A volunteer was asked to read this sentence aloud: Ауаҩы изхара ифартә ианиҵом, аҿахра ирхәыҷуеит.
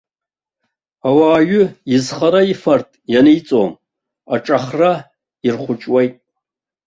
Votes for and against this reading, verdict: 1, 2, rejected